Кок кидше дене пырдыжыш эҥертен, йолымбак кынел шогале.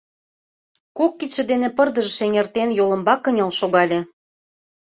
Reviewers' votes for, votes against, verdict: 2, 0, accepted